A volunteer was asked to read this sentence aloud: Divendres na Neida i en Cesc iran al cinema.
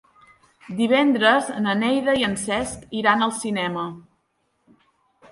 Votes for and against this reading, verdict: 3, 0, accepted